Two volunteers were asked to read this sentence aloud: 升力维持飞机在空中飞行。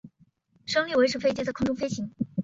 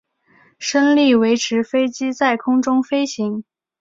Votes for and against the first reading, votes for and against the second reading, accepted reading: 2, 3, 2, 0, second